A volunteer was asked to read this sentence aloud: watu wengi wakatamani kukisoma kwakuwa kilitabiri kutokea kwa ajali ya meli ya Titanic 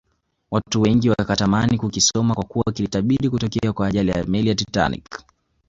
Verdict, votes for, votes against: accepted, 2, 0